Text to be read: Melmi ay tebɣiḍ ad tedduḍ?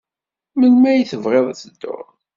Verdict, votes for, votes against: accepted, 2, 0